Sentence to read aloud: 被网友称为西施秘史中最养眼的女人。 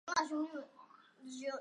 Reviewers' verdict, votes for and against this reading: rejected, 0, 2